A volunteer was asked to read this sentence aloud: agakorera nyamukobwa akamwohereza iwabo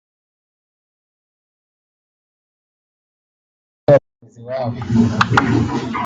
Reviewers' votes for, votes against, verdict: 0, 2, rejected